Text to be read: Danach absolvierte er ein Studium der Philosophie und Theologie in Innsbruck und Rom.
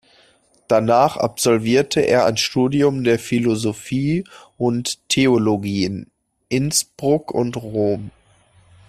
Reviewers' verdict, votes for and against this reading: accepted, 2, 1